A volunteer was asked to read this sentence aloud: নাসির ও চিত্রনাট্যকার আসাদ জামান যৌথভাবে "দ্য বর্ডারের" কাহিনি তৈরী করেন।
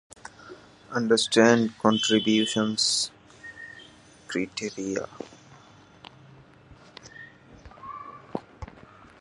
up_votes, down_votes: 0, 9